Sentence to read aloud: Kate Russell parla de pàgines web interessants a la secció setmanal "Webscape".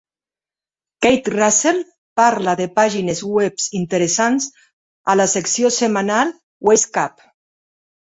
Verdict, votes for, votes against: rejected, 0, 2